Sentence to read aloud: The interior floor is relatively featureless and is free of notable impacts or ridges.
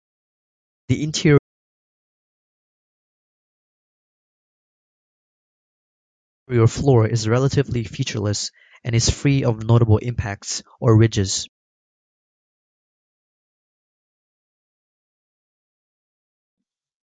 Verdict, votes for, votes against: rejected, 0, 2